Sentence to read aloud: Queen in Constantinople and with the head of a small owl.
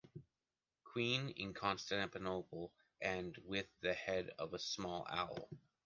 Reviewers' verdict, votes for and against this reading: rejected, 1, 2